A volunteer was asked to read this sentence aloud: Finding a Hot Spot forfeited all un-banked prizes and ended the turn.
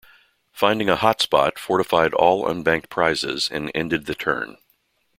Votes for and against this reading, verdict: 1, 2, rejected